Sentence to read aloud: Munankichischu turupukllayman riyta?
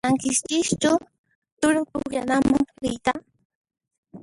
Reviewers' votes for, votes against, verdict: 0, 2, rejected